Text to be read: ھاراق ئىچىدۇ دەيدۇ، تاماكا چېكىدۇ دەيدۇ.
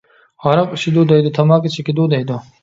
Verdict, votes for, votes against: accepted, 2, 0